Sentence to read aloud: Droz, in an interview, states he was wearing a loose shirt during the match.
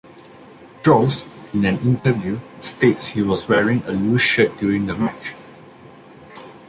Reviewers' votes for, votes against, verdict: 2, 0, accepted